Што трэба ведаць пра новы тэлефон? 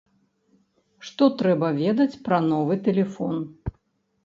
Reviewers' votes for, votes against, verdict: 2, 0, accepted